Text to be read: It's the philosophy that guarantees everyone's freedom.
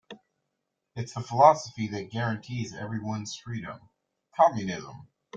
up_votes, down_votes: 0, 3